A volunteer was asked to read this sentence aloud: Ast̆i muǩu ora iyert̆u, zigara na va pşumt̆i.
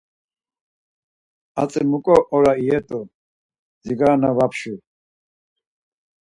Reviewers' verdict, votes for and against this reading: rejected, 0, 4